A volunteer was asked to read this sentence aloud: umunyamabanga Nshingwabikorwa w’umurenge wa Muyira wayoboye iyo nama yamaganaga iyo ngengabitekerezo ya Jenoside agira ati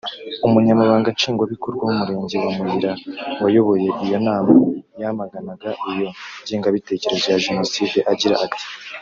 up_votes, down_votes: 1, 2